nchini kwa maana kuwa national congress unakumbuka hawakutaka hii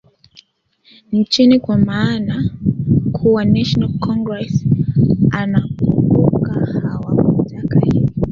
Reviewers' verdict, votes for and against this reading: rejected, 0, 3